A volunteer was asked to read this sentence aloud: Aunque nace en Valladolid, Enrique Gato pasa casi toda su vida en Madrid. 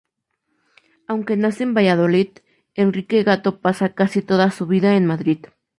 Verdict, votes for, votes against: rejected, 2, 2